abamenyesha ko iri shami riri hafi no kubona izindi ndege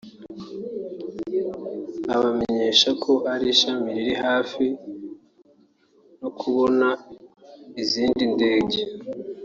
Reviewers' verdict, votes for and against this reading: rejected, 0, 2